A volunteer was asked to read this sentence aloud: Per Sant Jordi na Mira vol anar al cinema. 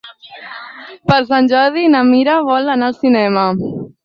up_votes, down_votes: 6, 0